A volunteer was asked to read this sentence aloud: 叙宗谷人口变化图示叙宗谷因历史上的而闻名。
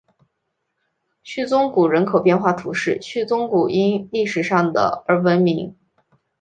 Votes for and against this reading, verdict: 2, 0, accepted